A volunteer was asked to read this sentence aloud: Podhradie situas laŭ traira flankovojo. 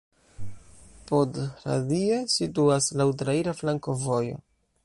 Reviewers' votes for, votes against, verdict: 0, 2, rejected